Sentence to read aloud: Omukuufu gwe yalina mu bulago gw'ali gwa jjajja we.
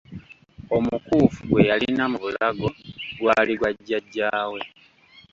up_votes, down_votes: 2, 1